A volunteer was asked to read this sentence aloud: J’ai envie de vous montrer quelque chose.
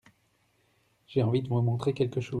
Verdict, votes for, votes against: rejected, 0, 2